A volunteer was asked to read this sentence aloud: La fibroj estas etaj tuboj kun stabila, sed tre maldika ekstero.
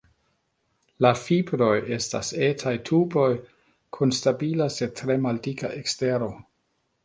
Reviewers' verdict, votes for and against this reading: rejected, 1, 2